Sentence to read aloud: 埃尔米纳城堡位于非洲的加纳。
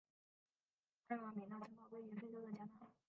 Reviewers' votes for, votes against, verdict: 0, 4, rejected